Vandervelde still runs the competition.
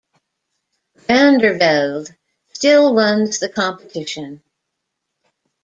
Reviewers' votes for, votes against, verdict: 0, 2, rejected